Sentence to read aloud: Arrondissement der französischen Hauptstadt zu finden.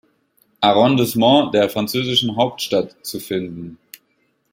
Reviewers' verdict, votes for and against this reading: accepted, 2, 1